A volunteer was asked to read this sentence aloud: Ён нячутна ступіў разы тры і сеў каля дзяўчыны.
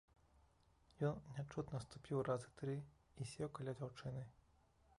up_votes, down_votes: 1, 2